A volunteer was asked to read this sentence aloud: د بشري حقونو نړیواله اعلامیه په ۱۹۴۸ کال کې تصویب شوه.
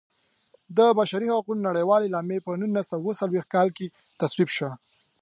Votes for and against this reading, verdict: 0, 2, rejected